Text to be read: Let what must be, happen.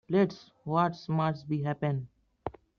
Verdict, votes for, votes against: rejected, 0, 2